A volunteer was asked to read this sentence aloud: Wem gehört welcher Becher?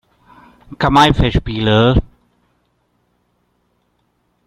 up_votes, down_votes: 0, 2